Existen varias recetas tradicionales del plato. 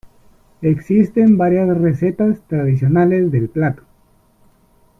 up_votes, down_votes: 2, 1